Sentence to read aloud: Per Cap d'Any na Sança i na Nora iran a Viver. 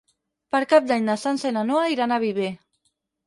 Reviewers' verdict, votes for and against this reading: rejected, 2, 4